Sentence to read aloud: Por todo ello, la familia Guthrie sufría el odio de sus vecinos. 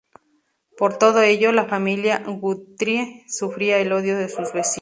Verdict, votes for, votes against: rejected, 0, 2